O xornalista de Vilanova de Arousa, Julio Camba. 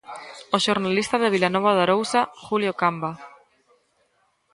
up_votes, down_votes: 1, 2